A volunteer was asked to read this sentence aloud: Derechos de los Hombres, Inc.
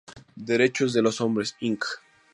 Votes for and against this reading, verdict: 2, 2, rejected